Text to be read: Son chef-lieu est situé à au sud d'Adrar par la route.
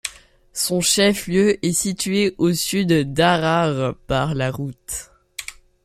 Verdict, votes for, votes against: rejected, 1, 2